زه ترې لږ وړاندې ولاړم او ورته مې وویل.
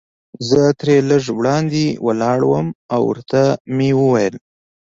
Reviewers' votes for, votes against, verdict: 2, 0, accepted